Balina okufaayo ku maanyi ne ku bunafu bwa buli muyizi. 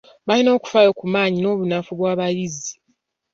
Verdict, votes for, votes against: rejected, 0, 2